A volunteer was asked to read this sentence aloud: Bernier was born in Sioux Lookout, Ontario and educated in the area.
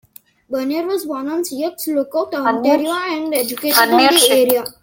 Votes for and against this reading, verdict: 0, 2, rejected